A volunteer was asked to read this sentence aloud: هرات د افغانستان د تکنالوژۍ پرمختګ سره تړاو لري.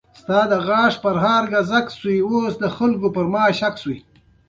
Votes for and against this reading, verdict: 1, 2, rejected